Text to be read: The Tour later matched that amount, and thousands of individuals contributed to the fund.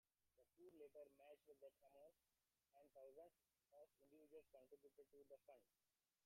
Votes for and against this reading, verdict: 0, 2, rejected